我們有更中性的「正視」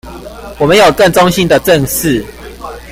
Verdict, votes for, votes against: accepted, 2, 0